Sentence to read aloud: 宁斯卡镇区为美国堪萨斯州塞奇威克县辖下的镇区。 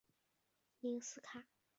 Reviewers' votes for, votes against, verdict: 1, 3, rejected